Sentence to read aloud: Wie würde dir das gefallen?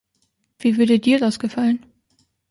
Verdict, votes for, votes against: accepted, 2, 0